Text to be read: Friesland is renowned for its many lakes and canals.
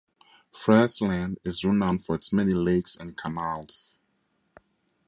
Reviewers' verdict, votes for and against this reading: accepted, 2, 0